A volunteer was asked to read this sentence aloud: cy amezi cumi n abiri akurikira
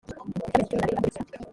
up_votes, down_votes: 0, 2